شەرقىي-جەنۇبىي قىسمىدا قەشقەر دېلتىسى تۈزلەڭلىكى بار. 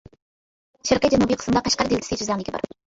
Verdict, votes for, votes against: rejected, 1, 2